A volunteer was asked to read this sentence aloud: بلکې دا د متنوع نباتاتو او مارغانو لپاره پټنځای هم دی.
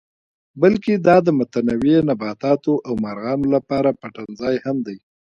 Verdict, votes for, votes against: accepted, 2, 1